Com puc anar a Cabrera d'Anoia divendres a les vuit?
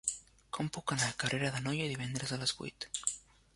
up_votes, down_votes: 0, 2